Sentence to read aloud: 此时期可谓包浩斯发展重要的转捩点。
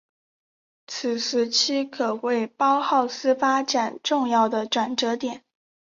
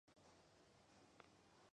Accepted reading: first